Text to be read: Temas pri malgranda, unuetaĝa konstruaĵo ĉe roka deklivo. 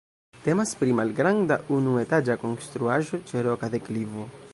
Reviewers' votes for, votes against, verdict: 2, 0, accepted